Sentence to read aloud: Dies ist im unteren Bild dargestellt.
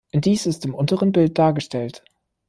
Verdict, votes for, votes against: accepted, 2, 1